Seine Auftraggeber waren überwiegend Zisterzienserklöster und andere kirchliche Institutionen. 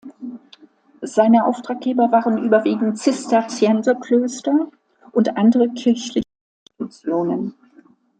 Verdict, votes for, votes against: rejected, 0, 2